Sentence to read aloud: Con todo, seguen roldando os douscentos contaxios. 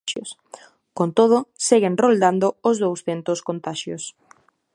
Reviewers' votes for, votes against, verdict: 2, 0, accepted